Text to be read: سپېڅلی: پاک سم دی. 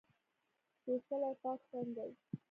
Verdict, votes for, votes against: rejected, 0, 2